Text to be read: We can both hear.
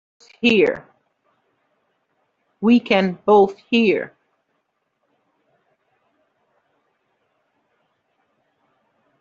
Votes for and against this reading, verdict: 0, 2, rejected